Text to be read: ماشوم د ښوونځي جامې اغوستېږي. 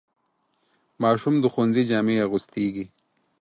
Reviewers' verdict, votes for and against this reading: accepted, 4, 0